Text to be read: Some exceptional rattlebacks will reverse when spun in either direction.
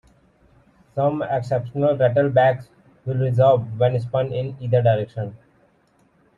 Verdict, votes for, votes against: rejected, 1, 2